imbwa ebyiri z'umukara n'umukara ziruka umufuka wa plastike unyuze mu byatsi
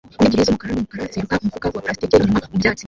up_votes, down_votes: 0, 2